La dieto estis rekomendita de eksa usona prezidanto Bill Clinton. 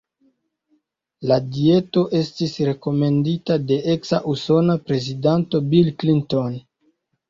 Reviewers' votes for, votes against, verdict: 0, 2, rejected